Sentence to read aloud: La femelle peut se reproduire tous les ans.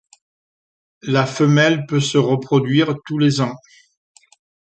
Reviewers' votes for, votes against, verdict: 2, 0, accepted